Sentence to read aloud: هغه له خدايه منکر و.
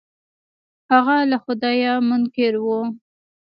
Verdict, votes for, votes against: rejected, 1, 2